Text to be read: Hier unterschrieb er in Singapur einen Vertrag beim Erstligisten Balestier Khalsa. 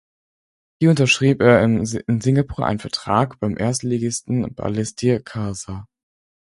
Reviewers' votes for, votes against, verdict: 4, 0, accepted